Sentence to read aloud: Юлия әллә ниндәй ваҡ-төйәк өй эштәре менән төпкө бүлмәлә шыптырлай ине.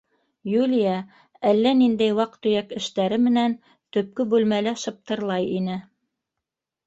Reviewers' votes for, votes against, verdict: 1, 2, rejected